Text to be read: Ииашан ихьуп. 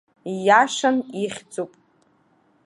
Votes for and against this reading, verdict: 1, 2, rejected